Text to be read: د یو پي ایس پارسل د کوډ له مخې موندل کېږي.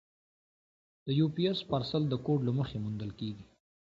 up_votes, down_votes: 2, 0